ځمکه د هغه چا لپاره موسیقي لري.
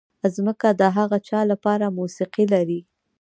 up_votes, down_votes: 1, 2